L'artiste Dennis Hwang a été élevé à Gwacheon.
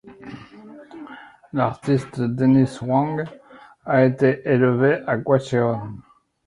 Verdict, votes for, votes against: accepted, 2, 1